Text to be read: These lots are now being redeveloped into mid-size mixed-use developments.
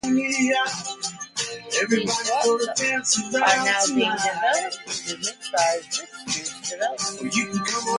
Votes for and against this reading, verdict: 0, 2, rejected